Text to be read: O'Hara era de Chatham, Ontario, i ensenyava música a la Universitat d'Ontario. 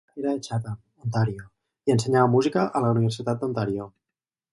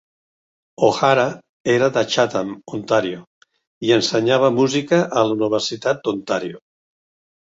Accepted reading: second